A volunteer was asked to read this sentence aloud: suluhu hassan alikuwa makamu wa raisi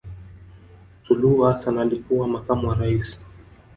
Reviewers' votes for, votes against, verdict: 1, 2, rejected